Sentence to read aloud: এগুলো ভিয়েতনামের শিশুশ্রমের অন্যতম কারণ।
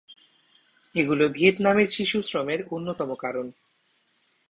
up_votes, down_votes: 2, 0